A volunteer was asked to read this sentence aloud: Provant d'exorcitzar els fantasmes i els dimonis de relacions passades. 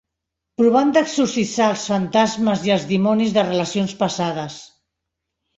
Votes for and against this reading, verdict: 1, 2, rejected